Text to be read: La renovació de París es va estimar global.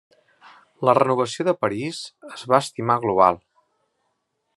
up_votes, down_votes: 3, 0